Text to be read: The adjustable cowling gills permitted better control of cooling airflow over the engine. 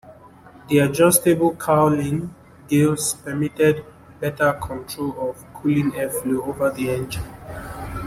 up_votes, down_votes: 2, 0